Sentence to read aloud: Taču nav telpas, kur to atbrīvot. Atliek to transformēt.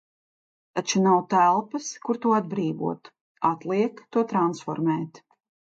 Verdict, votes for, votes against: accepted, 2, 0